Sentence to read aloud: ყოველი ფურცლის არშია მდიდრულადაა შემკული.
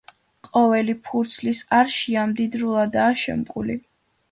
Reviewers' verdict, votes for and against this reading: accepted, 2, 0